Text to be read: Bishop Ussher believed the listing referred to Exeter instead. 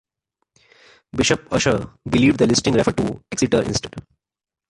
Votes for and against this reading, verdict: 0, 2, rejected